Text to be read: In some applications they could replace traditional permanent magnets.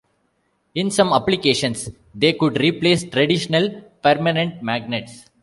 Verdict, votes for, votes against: accepted, 2, 0